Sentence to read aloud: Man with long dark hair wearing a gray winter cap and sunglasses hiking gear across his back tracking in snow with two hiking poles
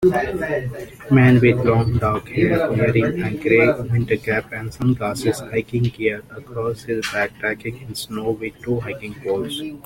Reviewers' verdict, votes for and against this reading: accepted, 2, 0